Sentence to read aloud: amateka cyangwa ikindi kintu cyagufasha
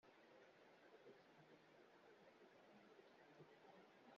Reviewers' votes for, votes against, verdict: 0, 2, rejected